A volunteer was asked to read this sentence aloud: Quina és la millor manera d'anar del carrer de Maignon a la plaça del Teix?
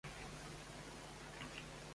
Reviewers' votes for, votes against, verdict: 0, 2, rejected